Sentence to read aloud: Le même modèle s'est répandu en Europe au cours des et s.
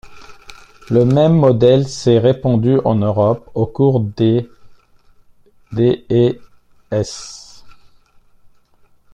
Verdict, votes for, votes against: rejected, 0, 2